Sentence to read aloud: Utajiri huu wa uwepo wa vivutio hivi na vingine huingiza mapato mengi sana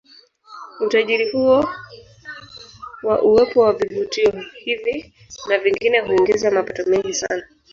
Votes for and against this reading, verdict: 1, 3, rejected